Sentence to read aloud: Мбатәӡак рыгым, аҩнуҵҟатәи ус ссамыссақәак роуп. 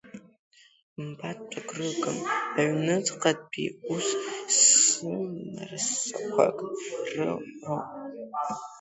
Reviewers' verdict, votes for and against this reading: rejected, 0, 2